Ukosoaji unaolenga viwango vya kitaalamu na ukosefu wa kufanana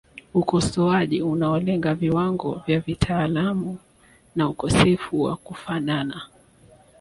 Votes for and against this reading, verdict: 3, 2, accepted